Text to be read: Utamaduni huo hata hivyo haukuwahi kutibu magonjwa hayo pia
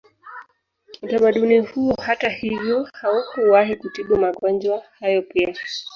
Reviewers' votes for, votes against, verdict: 0, 2, rejected